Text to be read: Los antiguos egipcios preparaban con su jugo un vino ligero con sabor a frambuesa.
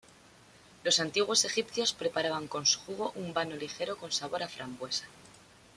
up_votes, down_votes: 1, 2